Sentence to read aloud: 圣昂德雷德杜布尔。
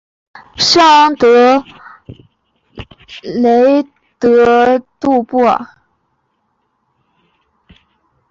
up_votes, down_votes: 2, 0